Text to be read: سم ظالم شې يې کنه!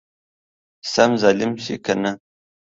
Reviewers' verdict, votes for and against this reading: accepted, 2, 0